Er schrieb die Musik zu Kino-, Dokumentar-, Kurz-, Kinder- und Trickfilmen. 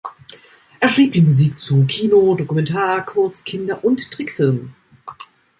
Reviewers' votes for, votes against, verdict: 4, 0, accepted